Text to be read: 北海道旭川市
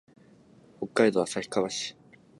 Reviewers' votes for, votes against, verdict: 3, 0, accepted